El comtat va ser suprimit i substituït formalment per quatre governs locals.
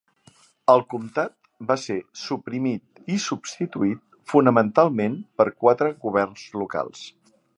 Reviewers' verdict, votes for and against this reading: rejected, 0, 2